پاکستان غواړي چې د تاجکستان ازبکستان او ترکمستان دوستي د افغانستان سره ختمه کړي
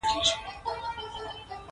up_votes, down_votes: 2, 1